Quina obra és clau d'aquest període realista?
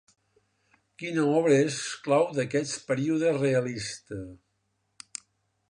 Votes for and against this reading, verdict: 1, 2, rejected